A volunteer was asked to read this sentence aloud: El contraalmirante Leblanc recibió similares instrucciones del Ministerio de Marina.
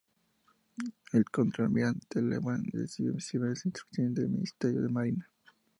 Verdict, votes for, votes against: rejected, 0, 2